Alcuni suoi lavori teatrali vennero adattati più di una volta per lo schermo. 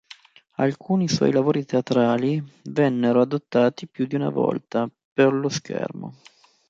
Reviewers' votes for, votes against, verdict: 0, 2, rejected